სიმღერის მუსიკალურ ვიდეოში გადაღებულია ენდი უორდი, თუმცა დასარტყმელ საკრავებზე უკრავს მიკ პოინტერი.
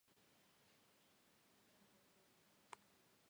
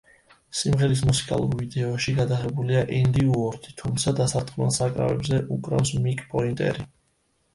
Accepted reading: second